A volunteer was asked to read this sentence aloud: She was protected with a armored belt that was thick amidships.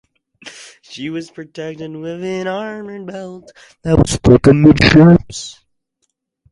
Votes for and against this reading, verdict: 0, 4, rejected